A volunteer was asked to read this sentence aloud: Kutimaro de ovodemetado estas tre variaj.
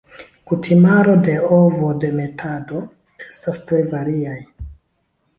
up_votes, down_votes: 2, 0